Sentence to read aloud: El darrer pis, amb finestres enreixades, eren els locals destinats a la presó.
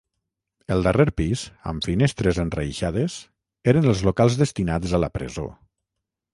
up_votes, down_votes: 6, 0